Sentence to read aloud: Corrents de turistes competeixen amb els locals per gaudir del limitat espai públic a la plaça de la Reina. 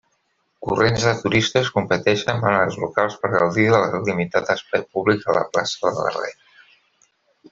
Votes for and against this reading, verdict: 0, 2, rejected